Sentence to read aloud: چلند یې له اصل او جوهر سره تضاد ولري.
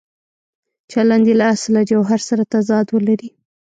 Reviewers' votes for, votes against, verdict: 1, 2, rejected